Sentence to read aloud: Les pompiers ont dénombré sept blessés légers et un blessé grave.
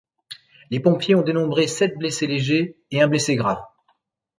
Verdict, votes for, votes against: accepted, 2, 0